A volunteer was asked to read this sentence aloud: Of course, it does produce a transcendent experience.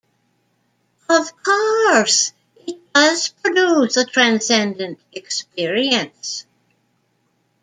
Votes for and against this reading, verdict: 2, 0, accepted